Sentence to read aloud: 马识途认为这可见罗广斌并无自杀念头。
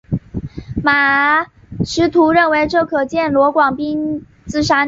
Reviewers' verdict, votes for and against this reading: rejected, 2, 4